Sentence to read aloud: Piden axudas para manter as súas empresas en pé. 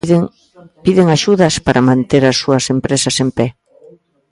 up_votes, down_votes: 0, 2